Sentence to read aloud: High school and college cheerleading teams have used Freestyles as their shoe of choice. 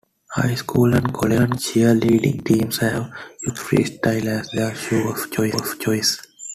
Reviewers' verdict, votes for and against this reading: accepted, 2, 0